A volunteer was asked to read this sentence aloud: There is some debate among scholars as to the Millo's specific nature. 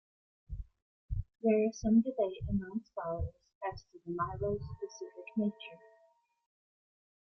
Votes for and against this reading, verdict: 1, 2, rejected